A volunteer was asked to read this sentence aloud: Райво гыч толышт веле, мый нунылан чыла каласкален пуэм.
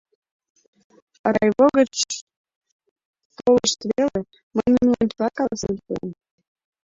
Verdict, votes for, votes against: rejected, 0, 2